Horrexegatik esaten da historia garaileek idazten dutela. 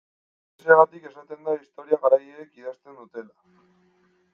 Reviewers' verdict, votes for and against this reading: rejected, 1, 2